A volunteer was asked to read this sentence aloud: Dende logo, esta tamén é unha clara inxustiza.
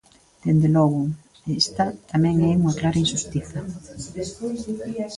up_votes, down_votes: 0, 2